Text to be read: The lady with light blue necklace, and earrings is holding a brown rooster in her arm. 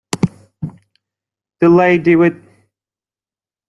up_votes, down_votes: 0, 2